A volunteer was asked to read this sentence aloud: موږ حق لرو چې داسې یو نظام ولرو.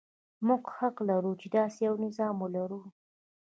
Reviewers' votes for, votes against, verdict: 2, 0, accepted